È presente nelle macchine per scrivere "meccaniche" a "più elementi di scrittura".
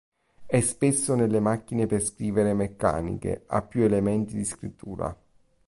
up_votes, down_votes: 0, 2